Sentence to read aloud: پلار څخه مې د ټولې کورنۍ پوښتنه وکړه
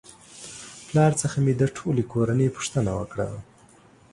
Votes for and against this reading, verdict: 2, 0, accepted